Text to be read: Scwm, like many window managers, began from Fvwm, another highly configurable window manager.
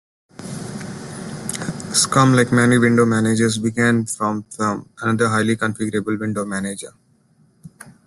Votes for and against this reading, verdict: 1, 2, rejected